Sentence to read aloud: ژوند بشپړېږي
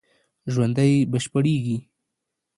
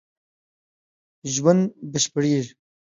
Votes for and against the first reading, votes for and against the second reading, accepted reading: 0, 2, 2, 0, second